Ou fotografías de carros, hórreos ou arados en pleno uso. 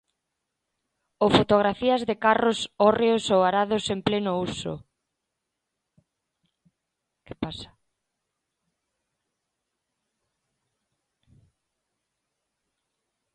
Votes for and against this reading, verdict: 1, 2, rejected